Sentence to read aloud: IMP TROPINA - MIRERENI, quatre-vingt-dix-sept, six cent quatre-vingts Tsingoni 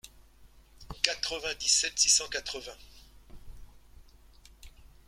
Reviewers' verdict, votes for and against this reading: rejected, 0, 2